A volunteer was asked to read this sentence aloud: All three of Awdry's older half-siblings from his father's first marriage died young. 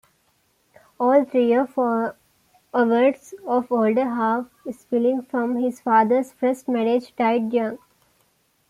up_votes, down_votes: 0, 2